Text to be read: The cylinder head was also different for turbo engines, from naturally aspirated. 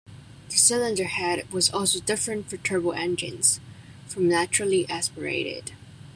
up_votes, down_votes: 2, 1